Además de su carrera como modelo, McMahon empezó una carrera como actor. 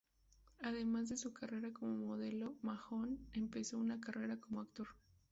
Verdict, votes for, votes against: rejected, 0, 2